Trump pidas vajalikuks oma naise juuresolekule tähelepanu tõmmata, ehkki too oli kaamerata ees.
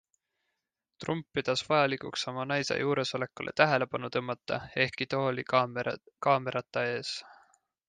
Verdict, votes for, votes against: rejected, 0, 2